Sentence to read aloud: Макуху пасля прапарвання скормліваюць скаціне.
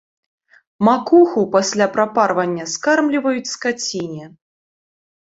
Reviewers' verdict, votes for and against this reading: accepted, 3, 1